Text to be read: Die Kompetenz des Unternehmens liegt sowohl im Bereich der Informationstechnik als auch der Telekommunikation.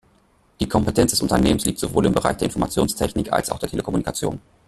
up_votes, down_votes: 1, 2